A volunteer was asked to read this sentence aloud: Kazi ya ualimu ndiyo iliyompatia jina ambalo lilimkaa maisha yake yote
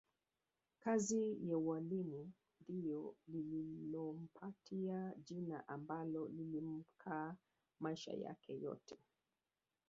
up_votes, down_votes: 0, 2